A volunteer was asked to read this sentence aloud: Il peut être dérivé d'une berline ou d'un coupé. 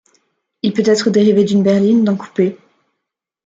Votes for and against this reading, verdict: 1, 2, rejected